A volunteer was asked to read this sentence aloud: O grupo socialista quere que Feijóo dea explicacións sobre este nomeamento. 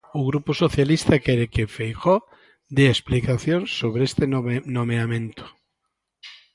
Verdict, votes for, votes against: rejected, 0, 2